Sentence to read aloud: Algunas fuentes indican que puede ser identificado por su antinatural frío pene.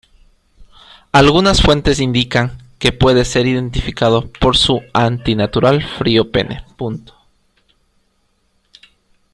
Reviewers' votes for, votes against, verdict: 2, 0, accepted